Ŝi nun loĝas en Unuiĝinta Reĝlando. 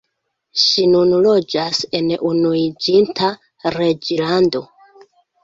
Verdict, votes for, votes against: accepted, 2, 0